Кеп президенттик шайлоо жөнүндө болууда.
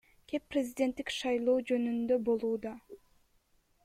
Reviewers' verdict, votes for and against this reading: rejected, 1, 2